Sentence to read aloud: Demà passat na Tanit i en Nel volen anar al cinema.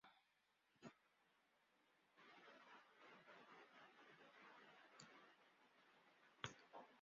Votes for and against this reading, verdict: 0, 2, rejected